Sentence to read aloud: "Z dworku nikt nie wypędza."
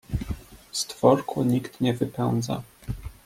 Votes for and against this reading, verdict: 1, 2, rejected